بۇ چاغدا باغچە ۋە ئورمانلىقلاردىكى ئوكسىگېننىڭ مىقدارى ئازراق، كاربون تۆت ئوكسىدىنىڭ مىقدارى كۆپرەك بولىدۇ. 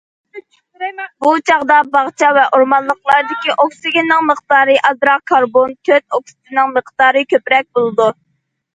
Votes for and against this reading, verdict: 2, 0, accepted